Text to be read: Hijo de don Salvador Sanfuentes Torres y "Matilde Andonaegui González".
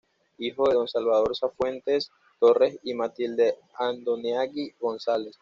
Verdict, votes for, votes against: rejected, 1, 2